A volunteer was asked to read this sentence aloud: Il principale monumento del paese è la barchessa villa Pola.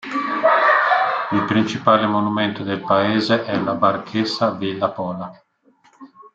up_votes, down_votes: 0, 2